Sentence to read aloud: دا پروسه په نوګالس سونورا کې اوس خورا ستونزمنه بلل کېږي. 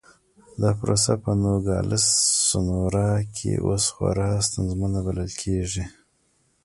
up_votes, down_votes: 2, 1